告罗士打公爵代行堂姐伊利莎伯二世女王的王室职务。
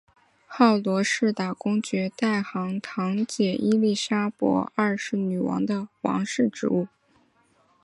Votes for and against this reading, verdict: 4, 0, accepted